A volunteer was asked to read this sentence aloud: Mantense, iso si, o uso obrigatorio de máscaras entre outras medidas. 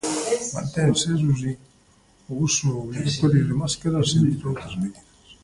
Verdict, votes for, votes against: rejected, 0, 2